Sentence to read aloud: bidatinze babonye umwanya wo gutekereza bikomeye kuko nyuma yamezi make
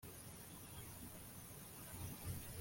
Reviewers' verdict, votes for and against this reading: rejected, 0, 2